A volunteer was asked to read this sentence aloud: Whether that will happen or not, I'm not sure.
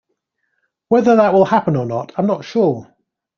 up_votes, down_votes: 2, 0